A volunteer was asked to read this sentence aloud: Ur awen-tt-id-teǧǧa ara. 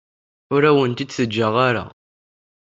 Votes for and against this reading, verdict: 2, 0, accepted